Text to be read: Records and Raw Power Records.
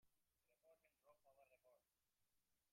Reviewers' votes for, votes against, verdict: 0, 2, rejected